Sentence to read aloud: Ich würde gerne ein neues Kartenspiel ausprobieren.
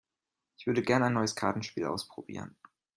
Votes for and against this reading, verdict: 2, 0, accepted